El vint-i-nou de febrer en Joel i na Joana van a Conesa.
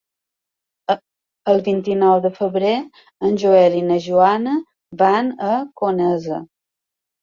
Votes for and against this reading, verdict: 0, 2, rejected